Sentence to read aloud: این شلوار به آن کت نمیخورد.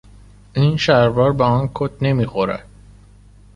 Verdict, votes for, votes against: accepted, 2, 0